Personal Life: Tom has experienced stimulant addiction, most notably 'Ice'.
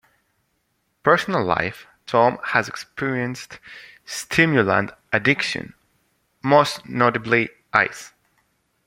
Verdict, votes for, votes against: accepted, 2, 0